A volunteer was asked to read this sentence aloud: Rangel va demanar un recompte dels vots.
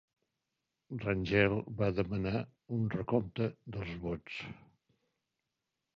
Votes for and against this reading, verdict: 3, 0, accepted